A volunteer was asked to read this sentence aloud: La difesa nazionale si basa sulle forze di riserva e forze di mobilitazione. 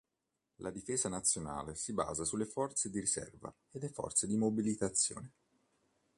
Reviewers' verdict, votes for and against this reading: rejected, 1, 2